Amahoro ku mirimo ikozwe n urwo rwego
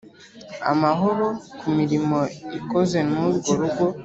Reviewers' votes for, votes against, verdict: 1, 2, rejected